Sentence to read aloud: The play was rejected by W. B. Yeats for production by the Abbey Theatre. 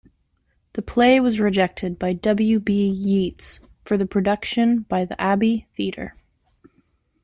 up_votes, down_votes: 0, 2